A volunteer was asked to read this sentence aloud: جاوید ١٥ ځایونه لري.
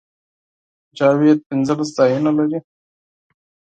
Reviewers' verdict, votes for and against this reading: rejected, 0, 2